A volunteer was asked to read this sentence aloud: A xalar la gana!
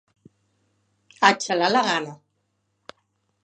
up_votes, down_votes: 4, 0